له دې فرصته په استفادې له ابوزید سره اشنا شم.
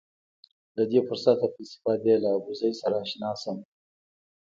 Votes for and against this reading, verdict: 1, 2, rejected